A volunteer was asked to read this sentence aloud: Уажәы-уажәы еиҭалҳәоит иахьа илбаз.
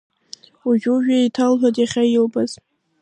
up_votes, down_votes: 2, 1